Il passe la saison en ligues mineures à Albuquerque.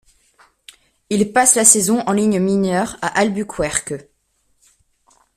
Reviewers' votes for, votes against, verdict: 0, 2, rejected